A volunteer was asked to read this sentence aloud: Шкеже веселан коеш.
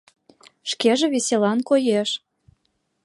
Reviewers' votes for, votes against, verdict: 2, 0, accepted